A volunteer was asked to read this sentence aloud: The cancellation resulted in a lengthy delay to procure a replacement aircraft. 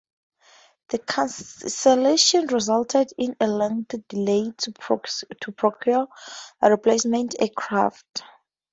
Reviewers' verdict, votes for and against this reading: rejected, 0, 2